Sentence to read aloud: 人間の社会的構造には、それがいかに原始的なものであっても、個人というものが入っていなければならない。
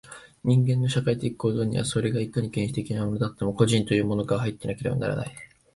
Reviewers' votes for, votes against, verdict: 2, 0, accepted